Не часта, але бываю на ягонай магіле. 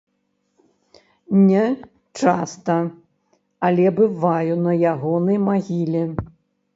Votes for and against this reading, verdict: 0, 2, rejected